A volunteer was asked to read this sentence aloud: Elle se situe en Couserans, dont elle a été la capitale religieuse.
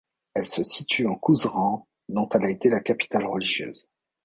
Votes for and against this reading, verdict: 2, 0, accepted